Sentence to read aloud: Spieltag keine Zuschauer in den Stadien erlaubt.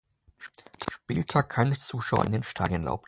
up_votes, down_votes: 0, 2